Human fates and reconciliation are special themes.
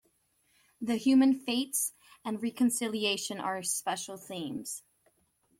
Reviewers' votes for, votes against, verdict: 1, 2, rejected